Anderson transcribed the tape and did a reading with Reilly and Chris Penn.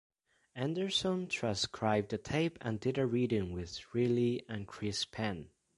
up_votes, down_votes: 0, 2